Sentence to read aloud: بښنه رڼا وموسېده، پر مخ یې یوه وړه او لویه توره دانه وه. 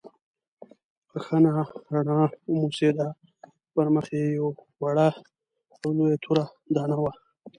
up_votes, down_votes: 1, 2